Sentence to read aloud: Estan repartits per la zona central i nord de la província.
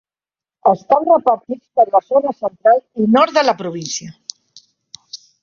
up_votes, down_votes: 0, 2